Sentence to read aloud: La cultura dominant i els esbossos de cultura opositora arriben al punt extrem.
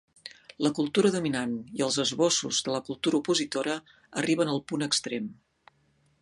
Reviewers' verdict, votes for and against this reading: rejected, 1, 2